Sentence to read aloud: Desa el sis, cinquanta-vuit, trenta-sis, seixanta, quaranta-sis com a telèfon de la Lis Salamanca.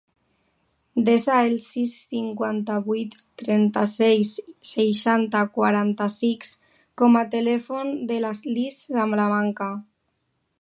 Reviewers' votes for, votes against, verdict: 0, 3, rejected